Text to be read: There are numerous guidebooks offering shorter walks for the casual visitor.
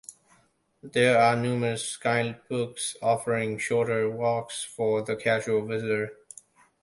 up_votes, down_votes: 2, 0